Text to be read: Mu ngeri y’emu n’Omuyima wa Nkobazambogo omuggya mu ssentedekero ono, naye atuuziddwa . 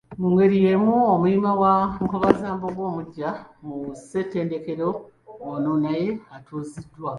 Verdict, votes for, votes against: rejected, 0, 2